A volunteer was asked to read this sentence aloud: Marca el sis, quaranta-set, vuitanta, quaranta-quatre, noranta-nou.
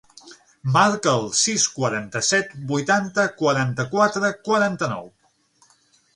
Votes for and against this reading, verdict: 0, 6, rejected